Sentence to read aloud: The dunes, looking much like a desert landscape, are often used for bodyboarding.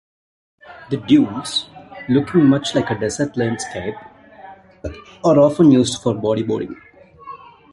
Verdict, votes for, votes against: accepted, 2, 1